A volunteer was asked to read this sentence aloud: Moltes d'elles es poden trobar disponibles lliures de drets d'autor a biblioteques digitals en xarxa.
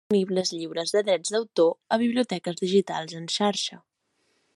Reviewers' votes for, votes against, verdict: 0, 2, rejected